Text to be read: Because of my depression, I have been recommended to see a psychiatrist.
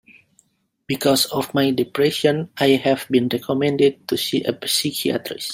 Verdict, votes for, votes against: rejected, 0, 2